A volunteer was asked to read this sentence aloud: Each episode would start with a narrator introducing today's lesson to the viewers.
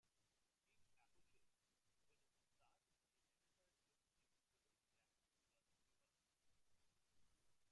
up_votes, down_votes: 0, 2